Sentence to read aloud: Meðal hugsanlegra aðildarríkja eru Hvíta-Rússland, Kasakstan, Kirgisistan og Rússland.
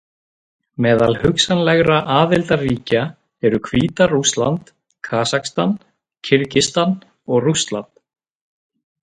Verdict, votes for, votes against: rejected, 0, 2